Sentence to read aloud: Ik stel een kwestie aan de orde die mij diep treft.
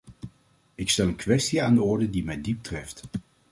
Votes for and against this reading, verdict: 2, 0, accepted